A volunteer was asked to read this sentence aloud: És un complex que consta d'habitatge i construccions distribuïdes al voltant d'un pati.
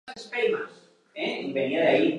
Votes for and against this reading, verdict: 0, 2, rejected